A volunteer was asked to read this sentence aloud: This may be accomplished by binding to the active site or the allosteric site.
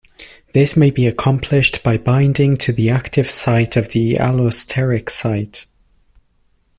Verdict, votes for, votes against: rejected, 0, 2